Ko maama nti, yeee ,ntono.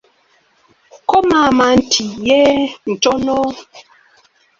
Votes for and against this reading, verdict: 2, 0, accepted